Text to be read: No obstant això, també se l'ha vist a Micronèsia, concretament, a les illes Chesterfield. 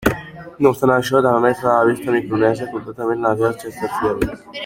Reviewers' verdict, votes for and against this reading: rejected, 0, 2